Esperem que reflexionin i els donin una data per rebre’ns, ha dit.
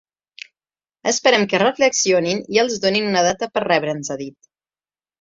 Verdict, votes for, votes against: accepted, 2, 0